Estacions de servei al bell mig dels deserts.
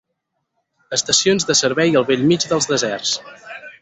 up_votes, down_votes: 4, 2